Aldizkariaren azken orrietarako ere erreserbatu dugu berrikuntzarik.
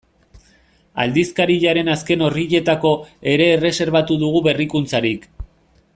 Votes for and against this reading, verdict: 1, 2, rejected